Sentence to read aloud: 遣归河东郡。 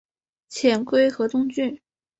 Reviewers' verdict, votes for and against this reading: accepted, 2, 0